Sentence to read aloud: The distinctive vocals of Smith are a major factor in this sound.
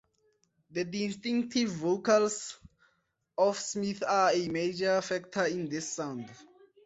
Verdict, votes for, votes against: accepted, 4, 0